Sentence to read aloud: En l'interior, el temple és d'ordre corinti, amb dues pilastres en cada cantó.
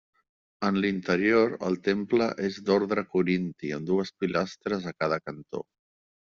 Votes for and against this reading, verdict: 1, 2, rejected